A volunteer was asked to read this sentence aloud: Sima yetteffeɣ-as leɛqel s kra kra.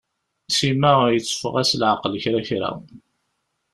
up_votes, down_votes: 1, 2